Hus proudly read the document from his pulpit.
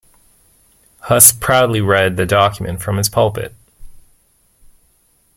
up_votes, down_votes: 2, 0